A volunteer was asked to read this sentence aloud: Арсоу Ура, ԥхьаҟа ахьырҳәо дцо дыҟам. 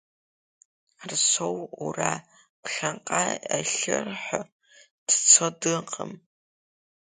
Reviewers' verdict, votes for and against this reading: accepted, 4, 3